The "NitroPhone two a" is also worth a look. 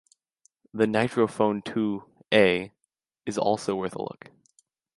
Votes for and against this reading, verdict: 2, 0, accepted